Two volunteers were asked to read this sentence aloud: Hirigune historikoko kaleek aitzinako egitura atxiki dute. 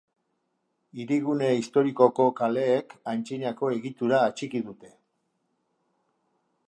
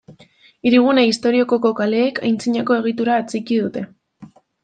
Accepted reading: first